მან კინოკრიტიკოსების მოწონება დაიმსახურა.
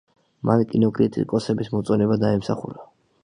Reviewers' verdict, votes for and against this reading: accepted, 2, 0